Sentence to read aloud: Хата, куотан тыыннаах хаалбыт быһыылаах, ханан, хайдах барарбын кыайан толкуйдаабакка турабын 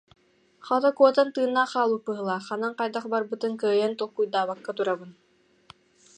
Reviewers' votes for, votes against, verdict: 0, 2, rejected